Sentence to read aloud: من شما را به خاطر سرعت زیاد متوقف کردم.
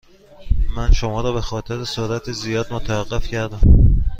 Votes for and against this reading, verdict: 2, 0, accepted